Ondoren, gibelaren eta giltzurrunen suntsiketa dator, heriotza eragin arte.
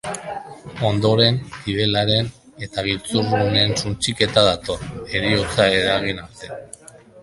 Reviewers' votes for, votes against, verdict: 2, 3, rejected